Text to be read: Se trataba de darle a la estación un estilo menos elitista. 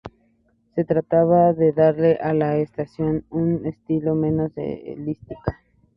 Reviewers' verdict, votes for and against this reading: rejected, 0, 4